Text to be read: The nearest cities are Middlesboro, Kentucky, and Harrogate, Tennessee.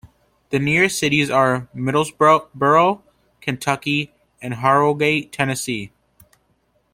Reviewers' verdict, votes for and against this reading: rejected, 0, 2